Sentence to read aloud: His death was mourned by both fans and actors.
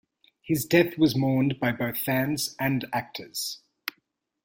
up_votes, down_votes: 2, 0